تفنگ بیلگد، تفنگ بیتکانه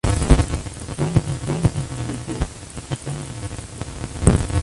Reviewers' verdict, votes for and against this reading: rejected, 0, 2